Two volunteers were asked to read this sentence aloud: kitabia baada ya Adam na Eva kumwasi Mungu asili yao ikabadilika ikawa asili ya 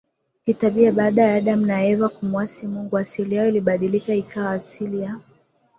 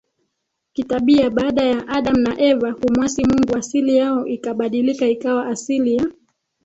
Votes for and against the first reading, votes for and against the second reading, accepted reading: 3, 0, 2, 3, first